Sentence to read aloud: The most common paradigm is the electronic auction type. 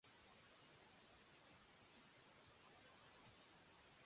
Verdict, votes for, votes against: rejected, 0, 2